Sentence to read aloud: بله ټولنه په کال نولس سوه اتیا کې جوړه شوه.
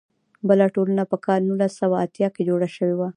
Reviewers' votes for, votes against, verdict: 2, 0, accepted